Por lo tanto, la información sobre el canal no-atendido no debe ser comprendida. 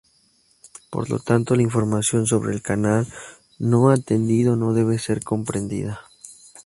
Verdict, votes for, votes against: accepted, 2, 0